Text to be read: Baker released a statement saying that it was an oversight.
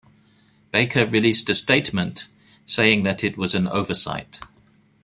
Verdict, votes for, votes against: rejected, 1, 2